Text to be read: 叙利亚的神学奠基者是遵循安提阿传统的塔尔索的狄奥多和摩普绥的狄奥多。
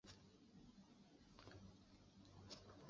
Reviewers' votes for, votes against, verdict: 3, 1, accepted